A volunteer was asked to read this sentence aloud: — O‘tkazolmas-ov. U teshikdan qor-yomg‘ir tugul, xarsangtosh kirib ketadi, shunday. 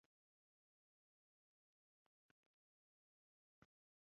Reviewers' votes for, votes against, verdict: 0, 2, rejected